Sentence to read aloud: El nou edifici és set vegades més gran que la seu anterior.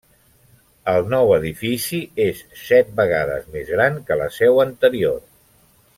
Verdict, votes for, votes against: accepted, 3, 0